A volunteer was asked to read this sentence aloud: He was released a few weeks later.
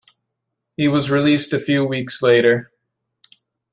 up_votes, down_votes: 2, 0